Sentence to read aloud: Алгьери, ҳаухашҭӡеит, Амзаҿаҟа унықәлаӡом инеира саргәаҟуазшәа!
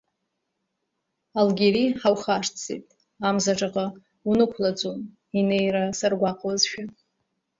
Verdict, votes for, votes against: accepted, 2, 0